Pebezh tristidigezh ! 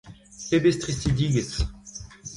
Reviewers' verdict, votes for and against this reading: rejected, 0, 2